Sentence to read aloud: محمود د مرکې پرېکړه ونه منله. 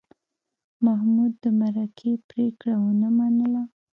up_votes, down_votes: 1, 2